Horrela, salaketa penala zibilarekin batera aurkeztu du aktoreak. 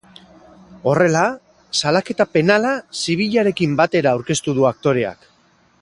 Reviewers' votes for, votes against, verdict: 4, 0, accepted